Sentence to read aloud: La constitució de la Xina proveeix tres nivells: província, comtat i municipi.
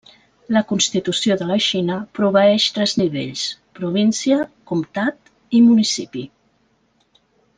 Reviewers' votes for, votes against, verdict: 3, 0, accepted